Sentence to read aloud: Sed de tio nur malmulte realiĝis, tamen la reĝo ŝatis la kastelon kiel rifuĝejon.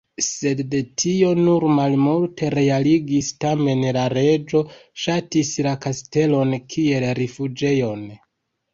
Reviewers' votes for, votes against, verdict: 0, 2, rejected